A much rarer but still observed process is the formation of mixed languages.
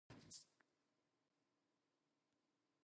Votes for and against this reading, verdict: 0, 2, rejected